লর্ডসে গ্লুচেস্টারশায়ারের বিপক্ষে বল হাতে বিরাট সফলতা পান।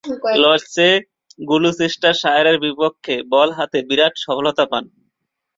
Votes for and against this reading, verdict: 2, 3, rejected